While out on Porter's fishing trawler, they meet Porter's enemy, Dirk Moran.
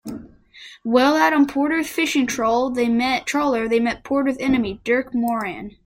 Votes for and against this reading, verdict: 0, 2, rejected